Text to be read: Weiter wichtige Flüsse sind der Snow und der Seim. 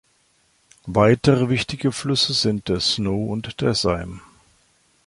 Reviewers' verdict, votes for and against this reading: rejected, 1, 2